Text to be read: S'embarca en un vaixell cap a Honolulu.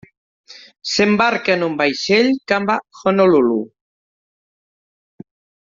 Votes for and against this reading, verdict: 1, 2, rejected